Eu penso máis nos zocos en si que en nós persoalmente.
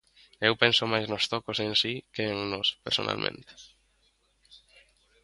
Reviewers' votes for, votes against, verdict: 0, 2, rejected